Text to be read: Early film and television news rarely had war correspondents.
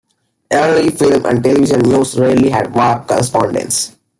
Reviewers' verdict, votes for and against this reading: rejected, 1, 2